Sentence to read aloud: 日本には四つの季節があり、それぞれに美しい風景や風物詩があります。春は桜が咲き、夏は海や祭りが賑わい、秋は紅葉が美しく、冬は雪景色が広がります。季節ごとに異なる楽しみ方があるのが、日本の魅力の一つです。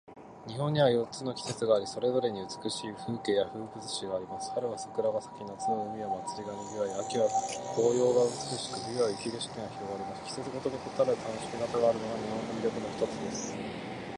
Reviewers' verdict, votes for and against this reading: accepted, 2, 1